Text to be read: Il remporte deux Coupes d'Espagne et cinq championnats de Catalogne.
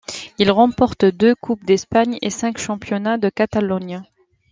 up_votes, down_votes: 2, 0